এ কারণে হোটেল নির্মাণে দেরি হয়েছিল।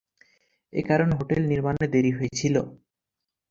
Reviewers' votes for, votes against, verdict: 4, 0, accepted